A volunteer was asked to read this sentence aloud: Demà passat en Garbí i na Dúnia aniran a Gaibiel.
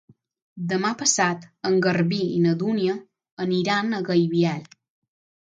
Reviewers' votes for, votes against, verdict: 3, 3, rejected